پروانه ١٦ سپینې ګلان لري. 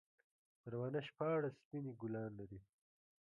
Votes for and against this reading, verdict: 0, 2, rejected